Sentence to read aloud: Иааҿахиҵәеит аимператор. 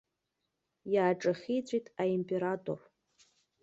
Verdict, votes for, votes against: accepted, 2, 0